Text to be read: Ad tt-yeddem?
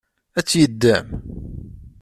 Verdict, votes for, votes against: accepted, 2, 0